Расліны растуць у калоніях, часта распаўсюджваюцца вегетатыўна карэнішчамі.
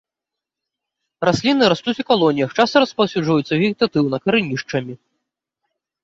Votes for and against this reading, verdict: 1, 2, rejected